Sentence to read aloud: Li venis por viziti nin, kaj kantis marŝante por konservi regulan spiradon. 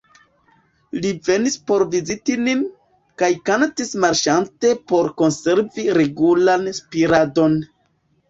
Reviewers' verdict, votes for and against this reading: accepted, 2, 1